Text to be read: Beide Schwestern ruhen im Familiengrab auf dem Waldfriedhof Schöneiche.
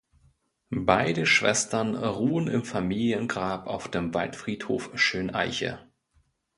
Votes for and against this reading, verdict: 2, 0, accepted